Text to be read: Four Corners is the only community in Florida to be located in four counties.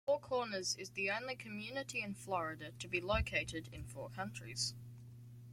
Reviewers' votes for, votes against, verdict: 0, 2, rejected